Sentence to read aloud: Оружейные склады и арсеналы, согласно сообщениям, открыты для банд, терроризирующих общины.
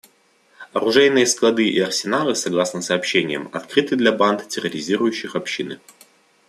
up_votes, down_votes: 2, 0